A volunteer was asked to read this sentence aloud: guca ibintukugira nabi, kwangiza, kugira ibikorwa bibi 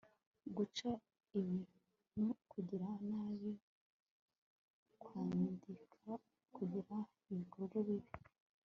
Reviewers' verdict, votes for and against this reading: rejected, 0, 2